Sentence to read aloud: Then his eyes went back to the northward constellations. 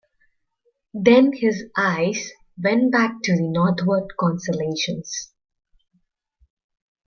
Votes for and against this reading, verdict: 2, 0, accepted